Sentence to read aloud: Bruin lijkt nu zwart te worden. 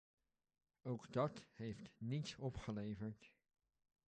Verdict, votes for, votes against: rejected, 0, 2